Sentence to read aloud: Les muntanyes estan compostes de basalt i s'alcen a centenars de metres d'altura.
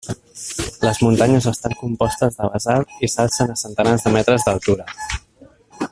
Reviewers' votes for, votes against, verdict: 1, 2, rejected